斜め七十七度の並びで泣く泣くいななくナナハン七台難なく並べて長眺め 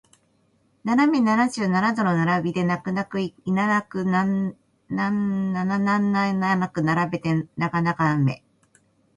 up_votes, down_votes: 0, 5